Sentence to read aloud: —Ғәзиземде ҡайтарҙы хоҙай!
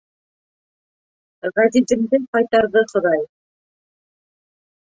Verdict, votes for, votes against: rejected, 1, 2